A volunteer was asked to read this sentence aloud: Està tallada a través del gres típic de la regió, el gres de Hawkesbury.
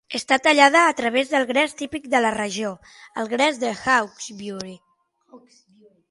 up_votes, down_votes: 0, 6